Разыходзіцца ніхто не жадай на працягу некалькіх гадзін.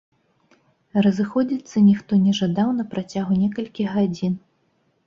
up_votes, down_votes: 0, 2